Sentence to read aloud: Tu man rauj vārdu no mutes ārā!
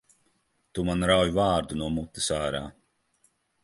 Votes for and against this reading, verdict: 2, 0, accepted